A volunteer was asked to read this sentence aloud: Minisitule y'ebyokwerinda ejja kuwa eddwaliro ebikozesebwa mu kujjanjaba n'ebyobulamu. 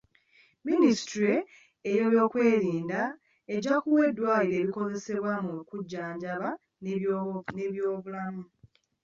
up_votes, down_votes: 1, 2